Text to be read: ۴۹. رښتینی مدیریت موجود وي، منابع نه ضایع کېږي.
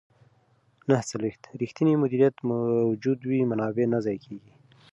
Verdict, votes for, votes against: rejected, 0, 2